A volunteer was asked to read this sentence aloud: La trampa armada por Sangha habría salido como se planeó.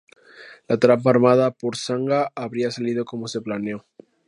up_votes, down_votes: 2, 0